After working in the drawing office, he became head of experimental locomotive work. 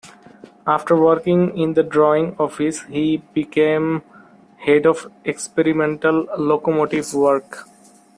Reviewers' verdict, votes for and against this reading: rejected, 0, 2